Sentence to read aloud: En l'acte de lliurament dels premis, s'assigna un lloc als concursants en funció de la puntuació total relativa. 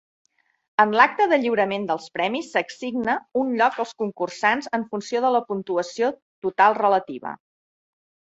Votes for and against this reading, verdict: 2, 1, accepted